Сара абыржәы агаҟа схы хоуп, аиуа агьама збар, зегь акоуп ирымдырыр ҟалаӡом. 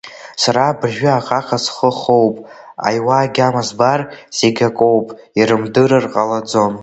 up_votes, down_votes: 0, 3